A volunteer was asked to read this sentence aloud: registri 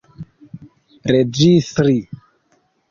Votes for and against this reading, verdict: 1, 2, rejected